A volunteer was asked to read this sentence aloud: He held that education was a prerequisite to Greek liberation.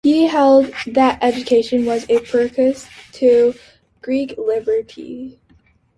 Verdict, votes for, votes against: rejected, 0, 2